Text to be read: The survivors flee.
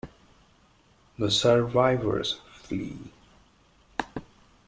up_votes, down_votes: 2, 0